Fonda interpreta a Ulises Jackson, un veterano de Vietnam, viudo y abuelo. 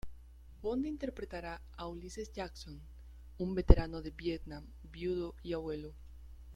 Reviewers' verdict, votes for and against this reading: rejected, 1, 2